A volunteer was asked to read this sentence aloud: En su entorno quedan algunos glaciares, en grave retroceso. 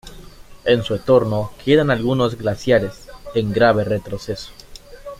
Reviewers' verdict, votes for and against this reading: rejected, 1, 2